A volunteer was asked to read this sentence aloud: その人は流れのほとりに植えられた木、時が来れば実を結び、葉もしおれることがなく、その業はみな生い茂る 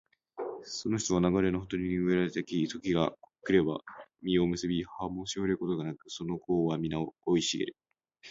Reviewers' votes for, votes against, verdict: 3, 0, accepted